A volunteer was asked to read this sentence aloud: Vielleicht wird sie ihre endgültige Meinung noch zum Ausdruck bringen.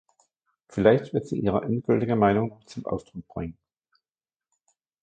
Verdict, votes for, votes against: rejected, 0, 2